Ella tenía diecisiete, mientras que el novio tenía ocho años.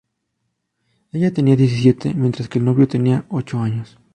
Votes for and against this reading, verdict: 2, 0, accepted